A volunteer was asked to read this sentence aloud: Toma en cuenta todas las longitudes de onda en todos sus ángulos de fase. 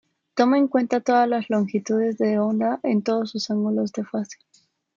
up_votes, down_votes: 0, 2